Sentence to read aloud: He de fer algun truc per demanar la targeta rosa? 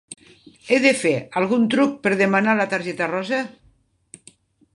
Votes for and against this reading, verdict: 4, 1, accepted